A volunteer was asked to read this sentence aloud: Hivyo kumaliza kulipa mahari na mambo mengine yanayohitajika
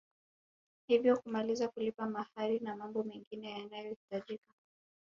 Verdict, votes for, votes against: accepted, 7, 0